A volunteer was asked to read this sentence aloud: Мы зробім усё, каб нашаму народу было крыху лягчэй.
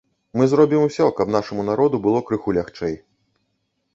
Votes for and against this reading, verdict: 3, 0, accepted